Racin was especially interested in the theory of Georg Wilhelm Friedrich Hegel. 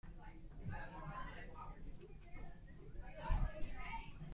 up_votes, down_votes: 0, 2